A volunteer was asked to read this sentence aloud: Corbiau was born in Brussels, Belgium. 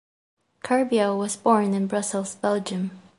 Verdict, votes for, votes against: accepted, 2, 0